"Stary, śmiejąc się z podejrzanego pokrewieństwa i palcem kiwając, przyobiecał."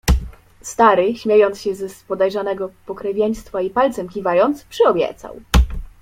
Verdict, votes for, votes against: rejected, 1, 2